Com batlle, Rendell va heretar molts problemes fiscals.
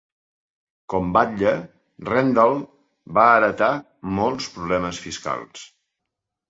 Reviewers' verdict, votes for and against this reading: accepted, 2, 0